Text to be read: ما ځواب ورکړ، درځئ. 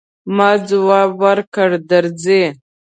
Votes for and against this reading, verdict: 1, 2, rejected